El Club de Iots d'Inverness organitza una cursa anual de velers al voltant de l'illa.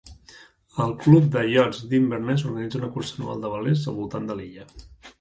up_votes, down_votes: 0, 2